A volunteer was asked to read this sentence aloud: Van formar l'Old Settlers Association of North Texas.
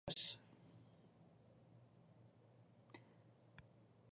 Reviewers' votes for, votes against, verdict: 0, 2, rejected